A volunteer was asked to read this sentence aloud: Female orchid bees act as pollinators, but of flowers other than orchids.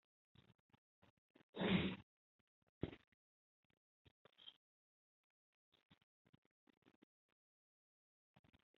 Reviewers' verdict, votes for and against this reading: rejected, 0, 2